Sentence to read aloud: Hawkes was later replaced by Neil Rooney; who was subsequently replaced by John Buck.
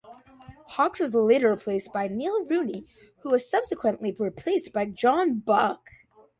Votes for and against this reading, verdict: 2, 0, accepted